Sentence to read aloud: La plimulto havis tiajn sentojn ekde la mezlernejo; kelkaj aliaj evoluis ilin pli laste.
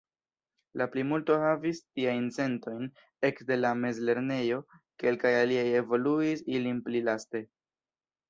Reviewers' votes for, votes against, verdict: 3, 0, accepted